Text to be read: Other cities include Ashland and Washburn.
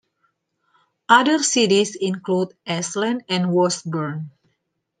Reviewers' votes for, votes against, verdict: 2, 1, accepted